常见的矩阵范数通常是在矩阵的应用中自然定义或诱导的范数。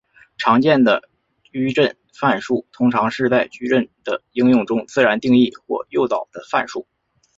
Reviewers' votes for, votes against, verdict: 5, 1, accepted